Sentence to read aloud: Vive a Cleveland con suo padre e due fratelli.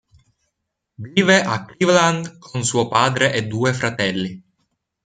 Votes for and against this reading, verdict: 2, 1, accepted